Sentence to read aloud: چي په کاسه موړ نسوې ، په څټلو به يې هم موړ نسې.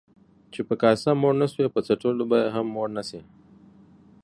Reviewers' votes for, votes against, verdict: 2, 0, accepted